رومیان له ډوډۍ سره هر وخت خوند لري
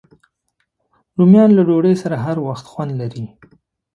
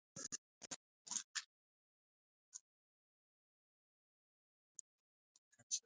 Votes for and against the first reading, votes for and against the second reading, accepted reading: 2, 0, 0, 2, first